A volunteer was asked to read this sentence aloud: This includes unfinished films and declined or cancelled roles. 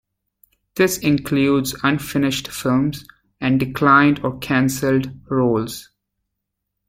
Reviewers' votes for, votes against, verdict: 1, 2, rejected